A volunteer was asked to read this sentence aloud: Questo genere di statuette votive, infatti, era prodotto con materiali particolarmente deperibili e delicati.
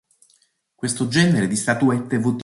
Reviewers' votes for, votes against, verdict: 0, 3, rejected